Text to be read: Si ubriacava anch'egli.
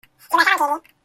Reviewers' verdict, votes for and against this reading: rejected, 0, 2